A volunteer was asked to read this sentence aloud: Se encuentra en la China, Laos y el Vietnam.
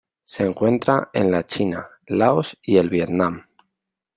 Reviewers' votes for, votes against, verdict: 2, 0, accepted